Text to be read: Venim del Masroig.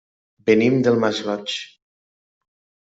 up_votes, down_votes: 2, 0